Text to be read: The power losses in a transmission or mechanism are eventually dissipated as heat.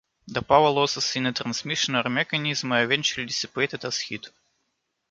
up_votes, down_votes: 2, 0